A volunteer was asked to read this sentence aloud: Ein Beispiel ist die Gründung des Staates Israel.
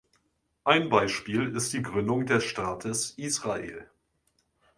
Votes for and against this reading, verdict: 2, 0, accepted